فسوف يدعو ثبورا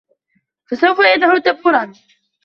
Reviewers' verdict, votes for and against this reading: rejected, 1, 2